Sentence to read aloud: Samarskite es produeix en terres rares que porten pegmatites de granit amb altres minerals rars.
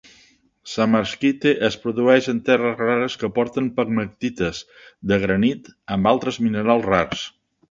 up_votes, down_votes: 2, 0